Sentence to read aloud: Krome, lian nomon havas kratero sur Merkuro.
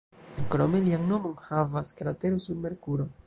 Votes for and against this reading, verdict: 1, 2, rejected